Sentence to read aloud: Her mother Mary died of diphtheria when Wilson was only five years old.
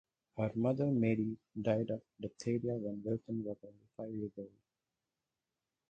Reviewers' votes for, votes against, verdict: 4, 2, accepted